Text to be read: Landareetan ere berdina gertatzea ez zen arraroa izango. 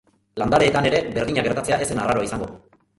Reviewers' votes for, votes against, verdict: 2, 1, accepted